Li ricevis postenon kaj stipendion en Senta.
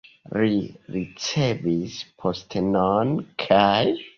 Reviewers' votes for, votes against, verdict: 0, 2, rejected